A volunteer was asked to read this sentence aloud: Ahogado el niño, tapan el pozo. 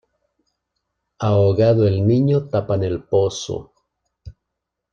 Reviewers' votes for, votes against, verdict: 2, 0, accepted